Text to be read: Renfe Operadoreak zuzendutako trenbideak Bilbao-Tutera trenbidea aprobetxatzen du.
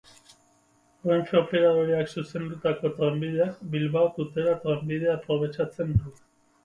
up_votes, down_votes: 4, 0